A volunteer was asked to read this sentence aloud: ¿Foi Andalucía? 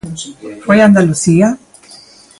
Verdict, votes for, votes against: rejected, 0, 2